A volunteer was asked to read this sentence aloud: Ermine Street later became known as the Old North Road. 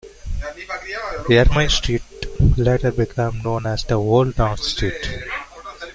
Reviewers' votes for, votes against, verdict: 0, 2, rejected